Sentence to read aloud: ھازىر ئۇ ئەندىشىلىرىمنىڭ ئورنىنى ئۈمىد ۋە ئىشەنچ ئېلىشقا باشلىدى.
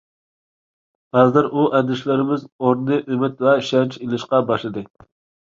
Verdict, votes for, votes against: rejected, 0, 2